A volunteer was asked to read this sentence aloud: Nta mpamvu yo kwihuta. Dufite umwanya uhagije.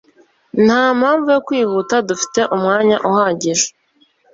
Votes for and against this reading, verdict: 2, 0, accepted